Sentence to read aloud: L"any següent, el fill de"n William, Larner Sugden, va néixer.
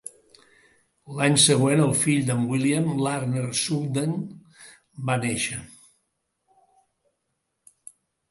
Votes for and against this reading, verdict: 2, 0, accepted